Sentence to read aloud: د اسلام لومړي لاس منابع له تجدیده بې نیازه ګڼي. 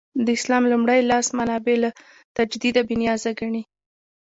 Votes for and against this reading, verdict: 2, 0, accepted